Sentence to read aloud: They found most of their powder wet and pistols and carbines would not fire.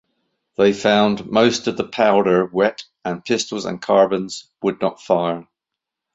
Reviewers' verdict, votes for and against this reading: rejected, 1, 2